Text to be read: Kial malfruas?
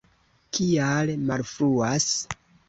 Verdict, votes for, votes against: accepted, 2, 0